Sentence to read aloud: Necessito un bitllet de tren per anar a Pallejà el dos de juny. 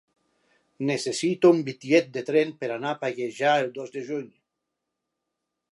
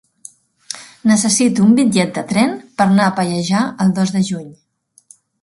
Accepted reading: first